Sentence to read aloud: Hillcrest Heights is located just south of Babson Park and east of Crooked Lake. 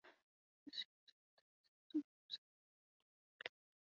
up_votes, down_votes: 0, 2